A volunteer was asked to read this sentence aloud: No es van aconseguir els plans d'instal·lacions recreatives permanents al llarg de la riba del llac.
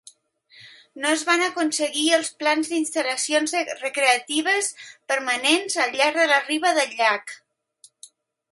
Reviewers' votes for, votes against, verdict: 1, 2, rejected